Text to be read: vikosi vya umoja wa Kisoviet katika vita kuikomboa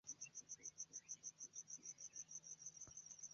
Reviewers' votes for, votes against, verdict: 1, 2, rejected